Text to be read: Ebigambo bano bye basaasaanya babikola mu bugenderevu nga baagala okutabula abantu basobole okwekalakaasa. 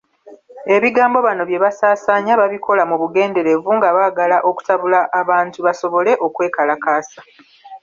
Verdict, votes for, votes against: rejected, 0, 2